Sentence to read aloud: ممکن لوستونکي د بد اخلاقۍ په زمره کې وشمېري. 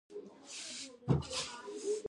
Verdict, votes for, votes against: rejected, 1, 2